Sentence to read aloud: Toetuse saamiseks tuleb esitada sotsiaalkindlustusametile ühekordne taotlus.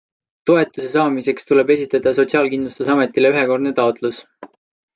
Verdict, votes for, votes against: accepted, 2, 0